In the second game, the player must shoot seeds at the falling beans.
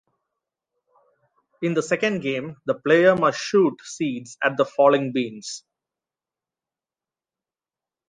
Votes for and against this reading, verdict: 2, 0, accepted